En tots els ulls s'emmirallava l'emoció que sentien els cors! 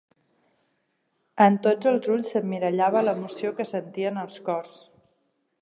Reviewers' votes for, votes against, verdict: 3, 0, accepted